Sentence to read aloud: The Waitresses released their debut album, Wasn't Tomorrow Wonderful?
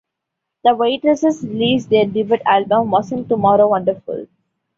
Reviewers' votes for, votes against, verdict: 1, 2, rejected